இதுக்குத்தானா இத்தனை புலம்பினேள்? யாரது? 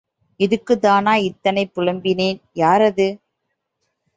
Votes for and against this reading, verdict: 1, 2, rejected